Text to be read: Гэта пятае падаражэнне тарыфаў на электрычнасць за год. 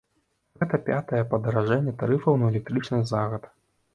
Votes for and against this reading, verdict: 1, 2, rejected